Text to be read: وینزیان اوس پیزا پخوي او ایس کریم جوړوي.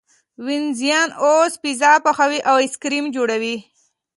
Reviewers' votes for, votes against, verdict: 2, 0, accepted